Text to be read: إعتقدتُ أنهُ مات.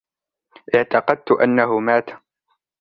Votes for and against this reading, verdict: 2, 0, accepted